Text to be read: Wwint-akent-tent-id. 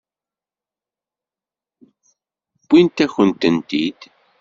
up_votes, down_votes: 1, 2